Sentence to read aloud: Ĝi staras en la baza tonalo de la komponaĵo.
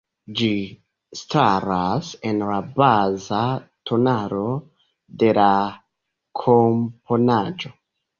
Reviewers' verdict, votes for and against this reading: rejected, 0, 2